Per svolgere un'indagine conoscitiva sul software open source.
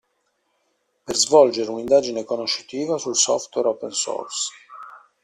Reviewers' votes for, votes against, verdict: 2, 0, accepted